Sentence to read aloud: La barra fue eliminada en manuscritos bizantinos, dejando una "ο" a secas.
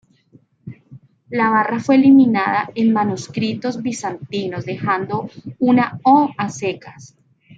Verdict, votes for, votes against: rejected, 1, 2